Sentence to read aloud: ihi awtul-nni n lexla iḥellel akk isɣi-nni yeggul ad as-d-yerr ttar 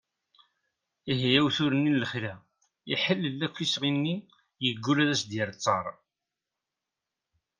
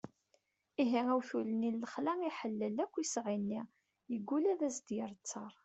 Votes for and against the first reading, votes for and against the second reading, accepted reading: 2, 0, 1, 2, first